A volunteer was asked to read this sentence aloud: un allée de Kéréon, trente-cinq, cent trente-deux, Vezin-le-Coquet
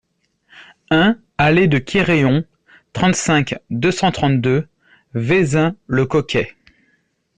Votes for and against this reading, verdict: 0, 2, rejected